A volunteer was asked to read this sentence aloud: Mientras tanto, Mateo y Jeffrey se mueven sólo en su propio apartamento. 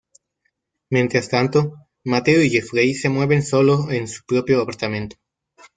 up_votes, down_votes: 2, 0